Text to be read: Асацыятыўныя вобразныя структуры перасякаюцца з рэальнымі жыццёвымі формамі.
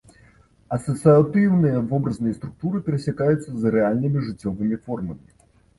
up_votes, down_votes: 2, 0